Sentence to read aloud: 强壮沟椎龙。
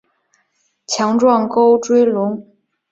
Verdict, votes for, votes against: accepted, 3, 0